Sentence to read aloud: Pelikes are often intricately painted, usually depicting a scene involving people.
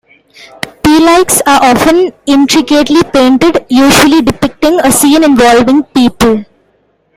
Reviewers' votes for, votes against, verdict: 2, 0, accepted